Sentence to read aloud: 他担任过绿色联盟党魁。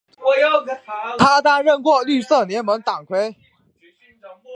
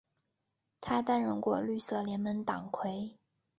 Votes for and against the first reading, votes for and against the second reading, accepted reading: 2, 4, 3, 0, second